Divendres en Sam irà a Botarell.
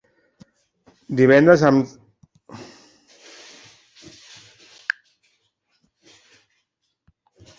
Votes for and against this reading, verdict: 1, 2, rejected